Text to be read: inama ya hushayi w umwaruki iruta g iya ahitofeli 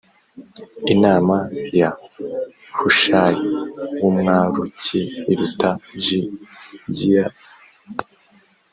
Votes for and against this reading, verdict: 0, 2, rejected